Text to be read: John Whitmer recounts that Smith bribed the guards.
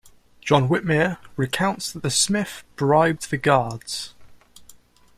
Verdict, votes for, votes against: rejected, 1, 2